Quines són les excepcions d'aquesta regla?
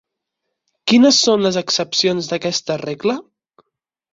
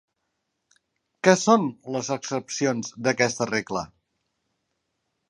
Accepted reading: first